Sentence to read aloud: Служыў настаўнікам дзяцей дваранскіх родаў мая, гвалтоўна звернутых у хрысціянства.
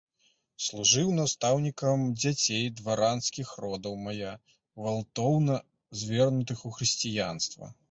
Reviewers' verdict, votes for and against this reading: rejected, 1, 3